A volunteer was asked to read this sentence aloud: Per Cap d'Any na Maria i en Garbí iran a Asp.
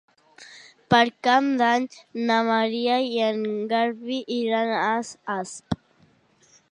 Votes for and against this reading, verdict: 0, 2, rejected